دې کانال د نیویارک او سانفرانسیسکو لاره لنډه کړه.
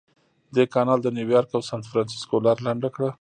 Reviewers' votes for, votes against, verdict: 2, 0, accepted